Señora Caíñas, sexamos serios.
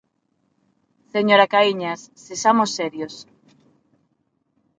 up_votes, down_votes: 6, 0